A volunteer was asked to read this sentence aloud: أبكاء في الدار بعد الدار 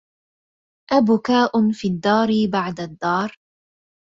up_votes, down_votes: 2, 0